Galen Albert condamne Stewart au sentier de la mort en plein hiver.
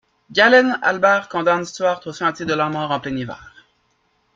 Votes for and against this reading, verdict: 1, 2, rejected